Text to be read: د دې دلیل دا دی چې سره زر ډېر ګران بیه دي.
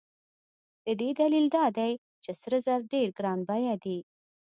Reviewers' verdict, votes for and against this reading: accepted, 2, 0